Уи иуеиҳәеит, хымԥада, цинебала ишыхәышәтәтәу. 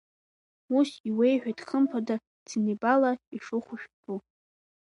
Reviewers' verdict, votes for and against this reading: rejected, 0, 2